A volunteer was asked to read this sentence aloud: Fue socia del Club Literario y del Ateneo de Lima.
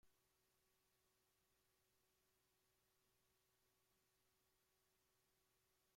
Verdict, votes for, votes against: rejected, 0, 2